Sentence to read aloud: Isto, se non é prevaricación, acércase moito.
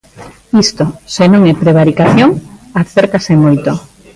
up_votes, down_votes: 2, 0